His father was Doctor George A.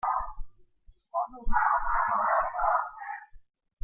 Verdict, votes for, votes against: rejected, 1, 2